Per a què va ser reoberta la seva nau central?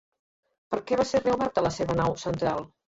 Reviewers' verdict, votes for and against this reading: rejected, 0, 2